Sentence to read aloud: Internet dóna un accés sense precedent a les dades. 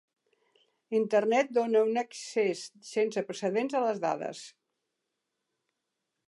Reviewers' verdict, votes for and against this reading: accepted, 2, 0